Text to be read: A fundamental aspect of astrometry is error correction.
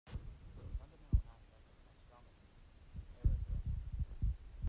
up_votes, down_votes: 0, 2